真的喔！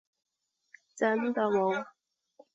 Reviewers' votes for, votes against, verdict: 3, 0, accepted